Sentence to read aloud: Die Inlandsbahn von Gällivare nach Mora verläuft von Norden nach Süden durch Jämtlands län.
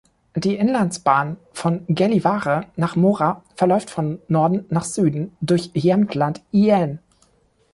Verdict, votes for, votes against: rejected, 0, 2